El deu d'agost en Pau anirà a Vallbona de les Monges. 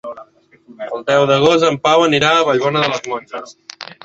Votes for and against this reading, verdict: 0, 6, rejected